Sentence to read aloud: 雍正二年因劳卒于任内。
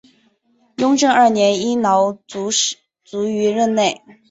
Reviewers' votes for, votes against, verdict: 1, 2, rejected